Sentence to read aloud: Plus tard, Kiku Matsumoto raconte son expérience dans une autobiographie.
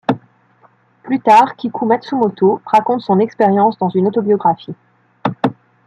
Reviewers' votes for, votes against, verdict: 2, 0, accepted